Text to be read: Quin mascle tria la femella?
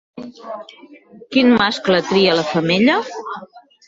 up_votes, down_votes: 1, 2